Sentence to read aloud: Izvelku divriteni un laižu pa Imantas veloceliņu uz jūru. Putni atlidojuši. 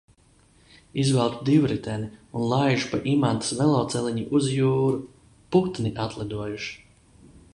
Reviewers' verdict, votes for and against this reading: accepted, 2, 0